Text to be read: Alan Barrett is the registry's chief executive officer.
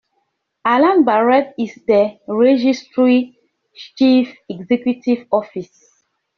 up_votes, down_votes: 0, 2